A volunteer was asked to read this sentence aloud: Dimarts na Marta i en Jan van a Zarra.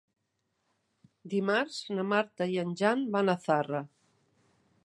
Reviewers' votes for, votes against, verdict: 3, 0, accepted